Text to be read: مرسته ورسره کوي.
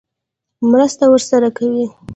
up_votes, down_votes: 1, 2